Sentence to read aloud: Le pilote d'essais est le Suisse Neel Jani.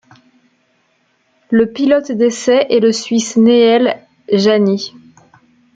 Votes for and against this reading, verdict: 0, 2, rejected